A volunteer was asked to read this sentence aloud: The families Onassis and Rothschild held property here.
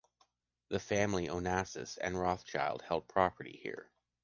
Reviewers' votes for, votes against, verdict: 1, 2, rejected